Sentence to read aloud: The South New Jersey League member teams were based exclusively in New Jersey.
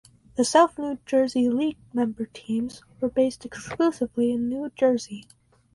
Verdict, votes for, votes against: rejected, 2, 2